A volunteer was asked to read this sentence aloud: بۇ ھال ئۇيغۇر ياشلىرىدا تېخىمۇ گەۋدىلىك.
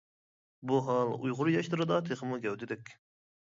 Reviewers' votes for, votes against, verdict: 2, 0, accepted